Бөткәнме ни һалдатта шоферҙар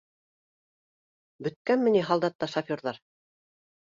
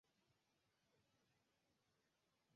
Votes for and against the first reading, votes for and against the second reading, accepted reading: 2, 0, 1, 2, first